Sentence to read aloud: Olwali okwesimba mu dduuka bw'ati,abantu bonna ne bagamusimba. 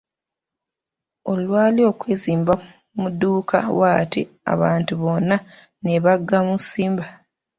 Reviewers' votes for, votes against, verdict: 1, 2, rejected